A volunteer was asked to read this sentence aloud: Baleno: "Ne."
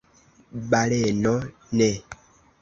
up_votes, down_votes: 2, 0